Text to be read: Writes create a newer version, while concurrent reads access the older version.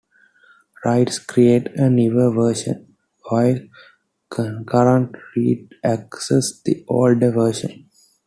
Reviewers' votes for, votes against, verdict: 0, 2, rejected